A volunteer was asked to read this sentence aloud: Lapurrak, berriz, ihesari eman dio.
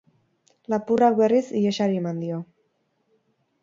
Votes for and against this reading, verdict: 4, 0, accepted